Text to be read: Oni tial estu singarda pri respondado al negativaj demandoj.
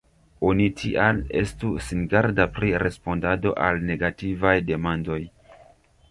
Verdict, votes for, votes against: rejected, 1, 2